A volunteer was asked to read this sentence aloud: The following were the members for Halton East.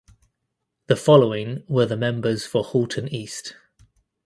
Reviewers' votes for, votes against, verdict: 2, 0, accepted